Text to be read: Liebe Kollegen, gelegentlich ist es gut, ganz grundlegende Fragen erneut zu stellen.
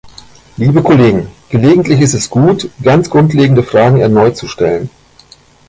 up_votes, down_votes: 1, 2